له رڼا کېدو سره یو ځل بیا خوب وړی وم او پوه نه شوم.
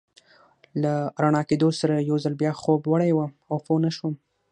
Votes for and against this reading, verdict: 6, 3, accepted